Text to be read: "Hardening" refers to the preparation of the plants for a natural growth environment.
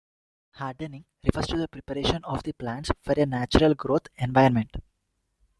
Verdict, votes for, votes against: accepted, 2, 1